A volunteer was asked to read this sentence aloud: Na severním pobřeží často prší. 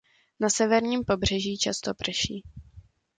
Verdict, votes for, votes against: accepted, 2, 0